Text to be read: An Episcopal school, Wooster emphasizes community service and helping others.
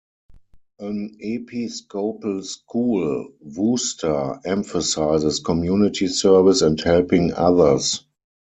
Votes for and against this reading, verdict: 4, 2, accepted